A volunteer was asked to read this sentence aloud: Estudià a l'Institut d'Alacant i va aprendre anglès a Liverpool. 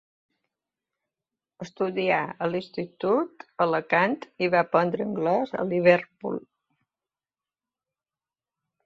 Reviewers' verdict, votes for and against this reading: rejected, 1, 2